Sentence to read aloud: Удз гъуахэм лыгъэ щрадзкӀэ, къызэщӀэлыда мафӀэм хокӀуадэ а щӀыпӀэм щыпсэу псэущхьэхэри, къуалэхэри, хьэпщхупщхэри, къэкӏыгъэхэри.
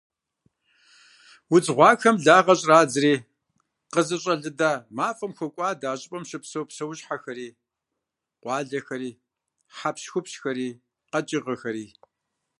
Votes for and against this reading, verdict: 1, 2, rejected